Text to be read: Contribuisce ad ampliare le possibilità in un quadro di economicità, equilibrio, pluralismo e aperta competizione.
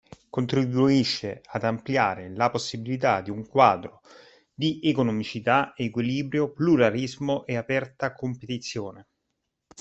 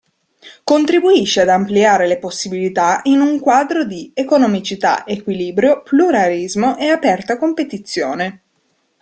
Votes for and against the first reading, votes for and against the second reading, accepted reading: 0, 2, 2, 0, second